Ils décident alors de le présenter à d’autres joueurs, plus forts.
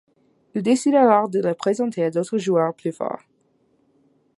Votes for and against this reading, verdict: 0, 2, rejected